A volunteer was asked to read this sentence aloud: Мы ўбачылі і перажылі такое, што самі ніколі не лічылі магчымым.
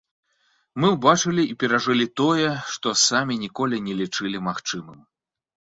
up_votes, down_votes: 0, 2